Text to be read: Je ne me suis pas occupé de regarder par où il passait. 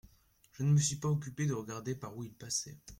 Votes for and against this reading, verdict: 2, 0, accepted